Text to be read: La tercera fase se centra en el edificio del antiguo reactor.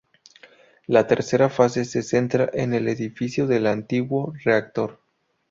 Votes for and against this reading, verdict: 2, 0, accepted